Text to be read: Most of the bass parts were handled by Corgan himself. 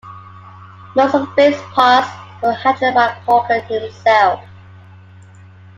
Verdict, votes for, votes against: rejected, 1, 2